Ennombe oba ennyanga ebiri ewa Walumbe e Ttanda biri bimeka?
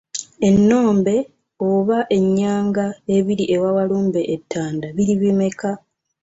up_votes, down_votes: 2, 0